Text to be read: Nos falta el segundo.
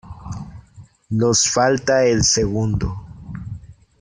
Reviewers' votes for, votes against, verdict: 1, 2, rejected